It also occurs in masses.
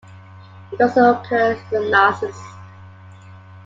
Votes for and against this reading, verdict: 2, 1, accepted